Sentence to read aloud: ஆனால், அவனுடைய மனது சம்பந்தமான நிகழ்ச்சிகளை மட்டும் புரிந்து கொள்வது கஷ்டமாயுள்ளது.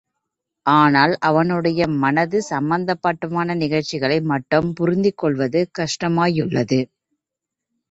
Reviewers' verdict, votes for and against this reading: accepted, 3, 1